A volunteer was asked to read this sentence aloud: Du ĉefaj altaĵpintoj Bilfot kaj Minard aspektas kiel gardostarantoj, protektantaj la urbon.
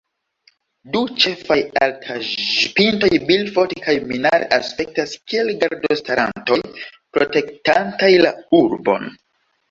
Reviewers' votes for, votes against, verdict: 2, 1, accepted